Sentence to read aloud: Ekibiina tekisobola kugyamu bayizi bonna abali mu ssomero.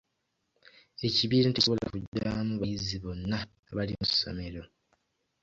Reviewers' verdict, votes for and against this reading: rejected, 0, 2